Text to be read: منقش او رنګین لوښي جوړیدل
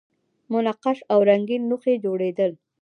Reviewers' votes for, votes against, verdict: 1, 2, rejected